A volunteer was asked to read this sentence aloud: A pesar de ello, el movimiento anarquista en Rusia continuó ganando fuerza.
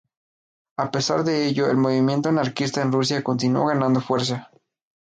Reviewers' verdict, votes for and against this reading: accepted, 2, 0